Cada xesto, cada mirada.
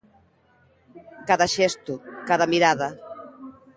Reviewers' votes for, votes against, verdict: 0, 2, rejected